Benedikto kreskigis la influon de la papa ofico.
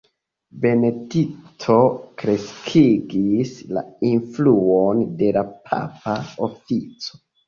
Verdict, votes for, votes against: accepted, 2, 0